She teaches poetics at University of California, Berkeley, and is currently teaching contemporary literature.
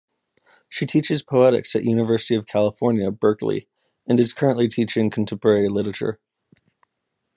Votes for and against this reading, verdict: 2, 0, accepted